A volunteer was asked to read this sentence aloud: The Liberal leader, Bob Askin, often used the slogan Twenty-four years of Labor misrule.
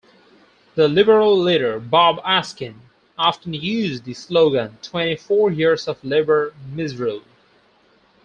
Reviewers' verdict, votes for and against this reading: accepted, 4, 2